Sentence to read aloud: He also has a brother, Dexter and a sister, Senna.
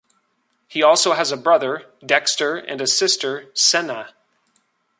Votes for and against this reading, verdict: 2, 0, accepted